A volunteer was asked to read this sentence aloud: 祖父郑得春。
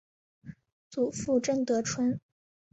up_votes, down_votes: 8, 0